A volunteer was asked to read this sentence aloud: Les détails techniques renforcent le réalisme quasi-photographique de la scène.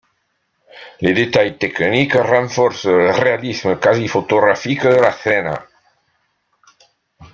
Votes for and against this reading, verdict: 1, 2, rejected